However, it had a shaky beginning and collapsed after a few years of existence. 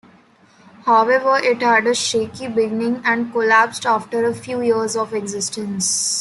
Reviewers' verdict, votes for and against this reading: accepted, 2, 0